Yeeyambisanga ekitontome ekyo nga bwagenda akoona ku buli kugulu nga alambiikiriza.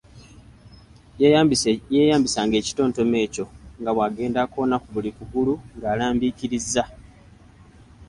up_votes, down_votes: 2, 0